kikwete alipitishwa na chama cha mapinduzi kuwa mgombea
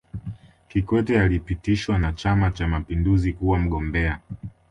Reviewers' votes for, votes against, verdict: 2, 0, accepted